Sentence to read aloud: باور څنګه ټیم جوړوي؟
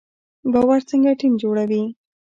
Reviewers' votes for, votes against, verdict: 1, 2, rejected